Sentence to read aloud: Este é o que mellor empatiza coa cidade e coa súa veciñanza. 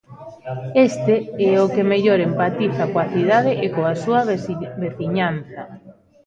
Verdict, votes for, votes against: rejected, 0, 2